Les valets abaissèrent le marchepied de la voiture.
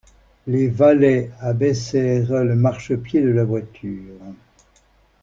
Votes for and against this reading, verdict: 2, 0, accepted